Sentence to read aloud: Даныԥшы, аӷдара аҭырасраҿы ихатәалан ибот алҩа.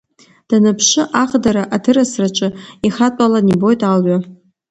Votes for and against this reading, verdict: 2, 0, accepted